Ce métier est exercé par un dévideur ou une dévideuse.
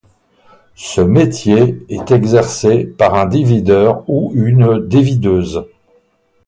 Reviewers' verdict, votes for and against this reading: rejected, 2, 2